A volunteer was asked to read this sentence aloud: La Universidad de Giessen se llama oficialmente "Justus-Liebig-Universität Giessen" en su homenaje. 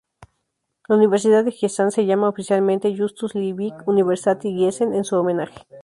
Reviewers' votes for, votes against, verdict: 0, 2, rejected